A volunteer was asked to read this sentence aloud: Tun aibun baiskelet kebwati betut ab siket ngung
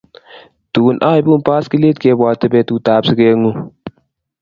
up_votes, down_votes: 2, 0